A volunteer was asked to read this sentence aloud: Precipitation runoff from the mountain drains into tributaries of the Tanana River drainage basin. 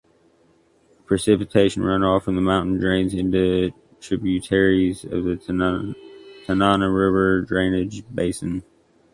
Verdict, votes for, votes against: rejected, 1, 2